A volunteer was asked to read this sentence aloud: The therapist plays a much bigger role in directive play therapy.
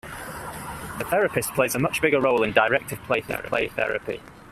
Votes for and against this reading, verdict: 2, 1, accepted